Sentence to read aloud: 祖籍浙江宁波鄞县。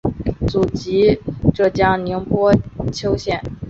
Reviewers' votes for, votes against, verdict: 0, 2, rejected